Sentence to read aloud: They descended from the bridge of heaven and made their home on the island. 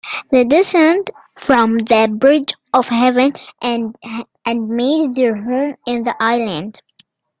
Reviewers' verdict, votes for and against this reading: rejected, 0, 2